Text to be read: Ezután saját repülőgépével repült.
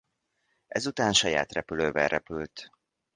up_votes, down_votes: 0, 2